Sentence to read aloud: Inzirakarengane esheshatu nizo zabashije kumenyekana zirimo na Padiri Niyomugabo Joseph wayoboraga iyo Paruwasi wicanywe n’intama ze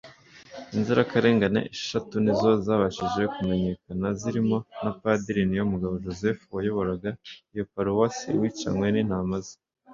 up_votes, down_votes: 2, 0